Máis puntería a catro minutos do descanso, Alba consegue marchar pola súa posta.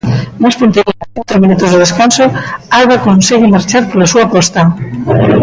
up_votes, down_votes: 0, 2